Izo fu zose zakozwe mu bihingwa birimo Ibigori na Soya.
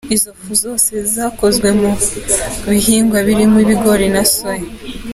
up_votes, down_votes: 2, 0